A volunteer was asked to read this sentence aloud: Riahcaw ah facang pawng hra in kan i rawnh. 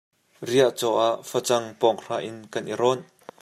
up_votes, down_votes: 2, 0